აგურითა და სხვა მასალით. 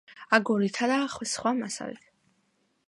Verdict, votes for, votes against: accepted, 2, 0